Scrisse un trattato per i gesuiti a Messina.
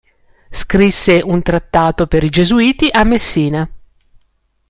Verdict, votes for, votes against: accepted, 2, 0